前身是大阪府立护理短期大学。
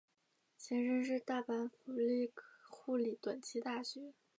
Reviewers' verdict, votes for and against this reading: accepted, 4, 1